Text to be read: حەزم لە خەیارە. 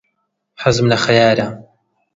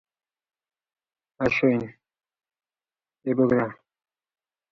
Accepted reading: first